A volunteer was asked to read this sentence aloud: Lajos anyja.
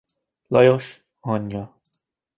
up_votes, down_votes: 2, 0